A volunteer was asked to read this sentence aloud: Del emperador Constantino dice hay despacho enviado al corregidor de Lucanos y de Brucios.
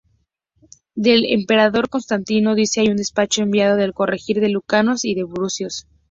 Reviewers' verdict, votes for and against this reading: rejected, 2, 2